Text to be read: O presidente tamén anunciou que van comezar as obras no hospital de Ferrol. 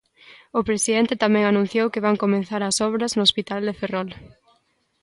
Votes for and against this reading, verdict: 1, 2, rejected